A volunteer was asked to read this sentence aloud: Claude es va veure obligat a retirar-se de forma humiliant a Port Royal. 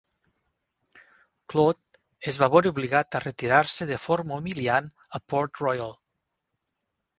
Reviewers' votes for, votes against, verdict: 8, 2, accepted